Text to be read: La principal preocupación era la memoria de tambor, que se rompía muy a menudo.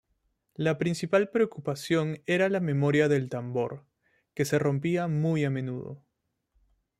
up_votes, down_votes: 2, 0